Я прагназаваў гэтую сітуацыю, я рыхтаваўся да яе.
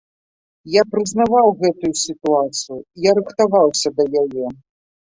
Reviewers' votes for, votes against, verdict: 0, 2, rejected